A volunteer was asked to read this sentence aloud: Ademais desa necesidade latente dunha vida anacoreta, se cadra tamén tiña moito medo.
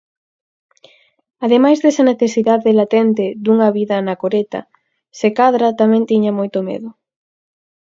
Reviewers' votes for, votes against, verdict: 4, 0, accepted